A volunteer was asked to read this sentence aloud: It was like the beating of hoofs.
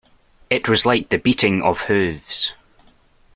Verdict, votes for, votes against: accepted, 2, 0